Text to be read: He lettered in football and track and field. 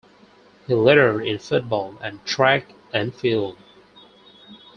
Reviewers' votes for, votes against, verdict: 4, 0, accepted